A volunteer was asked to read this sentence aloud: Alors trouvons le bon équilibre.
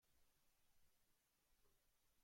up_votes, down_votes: 0, 2